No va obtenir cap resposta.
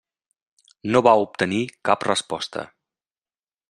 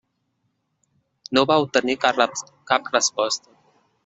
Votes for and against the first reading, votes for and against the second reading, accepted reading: 3, 0, 0, 2, first